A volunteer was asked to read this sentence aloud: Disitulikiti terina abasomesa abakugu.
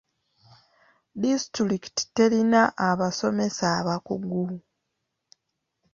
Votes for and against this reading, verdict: 0, 2, rejected